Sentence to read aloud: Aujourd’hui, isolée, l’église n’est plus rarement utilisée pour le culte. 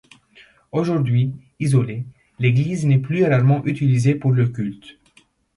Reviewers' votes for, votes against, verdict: 2, 0, accepted